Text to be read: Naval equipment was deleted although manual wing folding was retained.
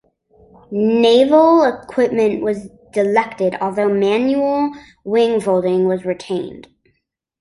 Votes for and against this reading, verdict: 0, 2, rejected